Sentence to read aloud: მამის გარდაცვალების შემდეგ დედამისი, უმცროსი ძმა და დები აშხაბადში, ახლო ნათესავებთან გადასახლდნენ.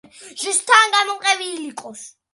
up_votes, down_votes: 0, 2